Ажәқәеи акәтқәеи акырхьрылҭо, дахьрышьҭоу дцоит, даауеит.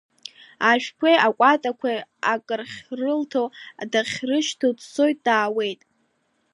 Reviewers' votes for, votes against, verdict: 1, 2, rejected